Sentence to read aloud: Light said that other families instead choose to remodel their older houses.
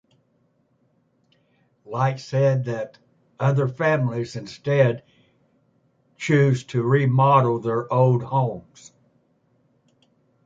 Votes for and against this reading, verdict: 2, 0, accepted